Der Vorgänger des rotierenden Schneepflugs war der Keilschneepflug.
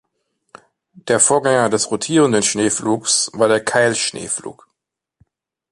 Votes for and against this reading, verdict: 2, 0, accepted